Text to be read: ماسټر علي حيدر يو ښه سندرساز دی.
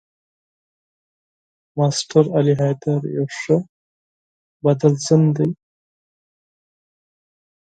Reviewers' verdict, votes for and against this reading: rejected, 2, 4